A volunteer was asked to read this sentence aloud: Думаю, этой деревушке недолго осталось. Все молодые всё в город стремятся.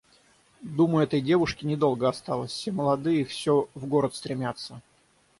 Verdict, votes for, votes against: rejected, 3, 3